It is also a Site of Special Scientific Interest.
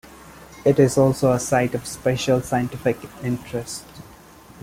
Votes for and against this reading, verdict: 2, 0, accepted